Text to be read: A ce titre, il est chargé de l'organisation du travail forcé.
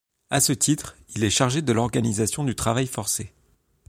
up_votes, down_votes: 2, 1